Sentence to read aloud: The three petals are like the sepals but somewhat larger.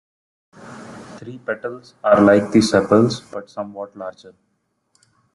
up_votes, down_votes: 0, 2